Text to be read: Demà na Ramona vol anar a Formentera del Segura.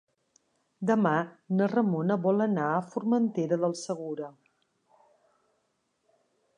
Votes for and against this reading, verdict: 5, 0, accepted